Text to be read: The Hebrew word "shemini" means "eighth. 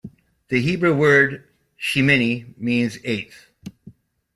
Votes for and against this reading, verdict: 2, 0, accepted